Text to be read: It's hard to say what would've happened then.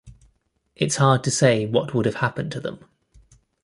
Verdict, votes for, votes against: rejected, 0, 2